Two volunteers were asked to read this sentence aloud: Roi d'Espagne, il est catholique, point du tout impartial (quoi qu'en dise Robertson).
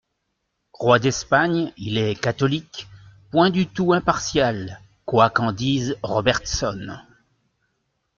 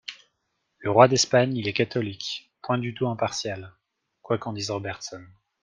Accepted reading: first